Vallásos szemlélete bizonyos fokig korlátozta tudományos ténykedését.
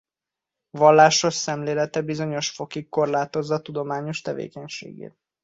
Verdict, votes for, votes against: rejected, 0, 2